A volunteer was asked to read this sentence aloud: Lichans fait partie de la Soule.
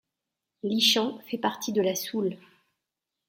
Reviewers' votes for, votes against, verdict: 2, 0, accepted